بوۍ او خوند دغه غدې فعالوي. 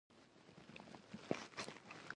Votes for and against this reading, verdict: 1, 2, rejected